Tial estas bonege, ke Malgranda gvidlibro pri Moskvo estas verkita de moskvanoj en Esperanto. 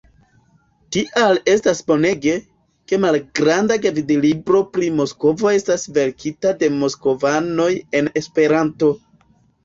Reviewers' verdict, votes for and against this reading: accepted, 3, 0